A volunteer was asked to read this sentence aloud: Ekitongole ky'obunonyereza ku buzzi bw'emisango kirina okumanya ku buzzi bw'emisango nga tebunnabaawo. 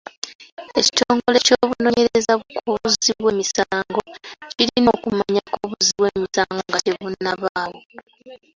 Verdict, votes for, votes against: rejected, 0, 2